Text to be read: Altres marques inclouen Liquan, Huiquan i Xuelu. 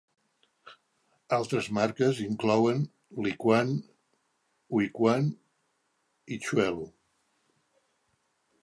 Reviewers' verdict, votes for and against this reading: accepted, 2, 0